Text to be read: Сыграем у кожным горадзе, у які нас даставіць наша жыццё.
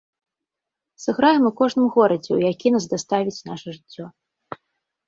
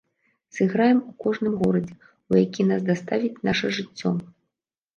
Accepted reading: first